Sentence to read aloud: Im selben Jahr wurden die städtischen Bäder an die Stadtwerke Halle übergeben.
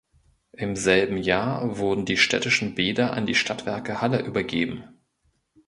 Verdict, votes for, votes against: accepted, 2, 0